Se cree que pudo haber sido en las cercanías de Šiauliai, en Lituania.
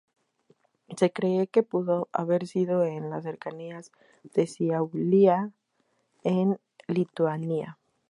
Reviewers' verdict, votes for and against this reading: rejected, 2, 2